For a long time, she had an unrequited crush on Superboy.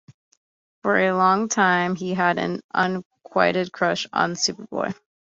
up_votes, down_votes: 0, 2